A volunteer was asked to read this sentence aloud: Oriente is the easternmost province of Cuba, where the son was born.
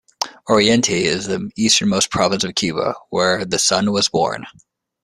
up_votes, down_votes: 2, 1